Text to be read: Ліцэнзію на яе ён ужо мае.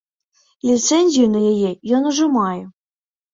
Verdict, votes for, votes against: accepted, 2, 0